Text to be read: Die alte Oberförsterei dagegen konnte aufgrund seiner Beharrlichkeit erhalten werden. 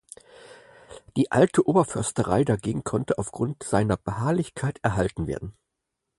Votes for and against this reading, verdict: 4, 0, accepted